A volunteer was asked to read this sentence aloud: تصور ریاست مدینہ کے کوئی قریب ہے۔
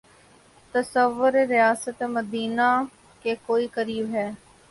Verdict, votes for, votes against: accepted, 5, 0